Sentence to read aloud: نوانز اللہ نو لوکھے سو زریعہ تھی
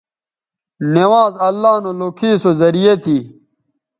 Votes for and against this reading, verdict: 2, 0, accepted